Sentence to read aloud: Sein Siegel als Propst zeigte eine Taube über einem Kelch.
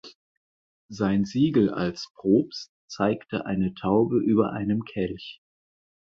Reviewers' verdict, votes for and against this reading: accepted, 4, 0